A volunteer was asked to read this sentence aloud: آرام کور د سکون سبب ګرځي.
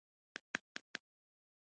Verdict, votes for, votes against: rejected, 0, 2